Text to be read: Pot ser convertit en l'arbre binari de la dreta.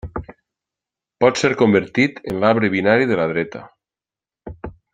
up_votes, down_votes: 4, 0